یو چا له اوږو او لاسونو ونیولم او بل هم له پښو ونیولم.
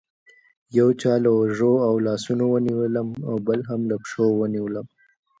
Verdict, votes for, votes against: accepted, 2, 1